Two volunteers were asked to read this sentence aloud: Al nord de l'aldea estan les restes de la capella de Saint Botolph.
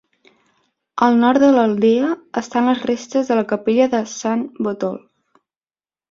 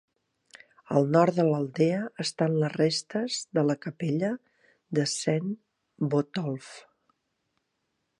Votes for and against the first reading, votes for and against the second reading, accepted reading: 1, 3, 4, 0, second